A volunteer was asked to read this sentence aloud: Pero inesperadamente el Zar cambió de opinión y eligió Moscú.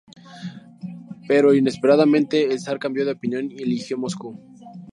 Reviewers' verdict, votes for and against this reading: accepted, 4, 0